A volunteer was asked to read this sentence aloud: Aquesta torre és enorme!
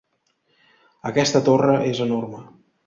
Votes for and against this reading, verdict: 2, 0, accepted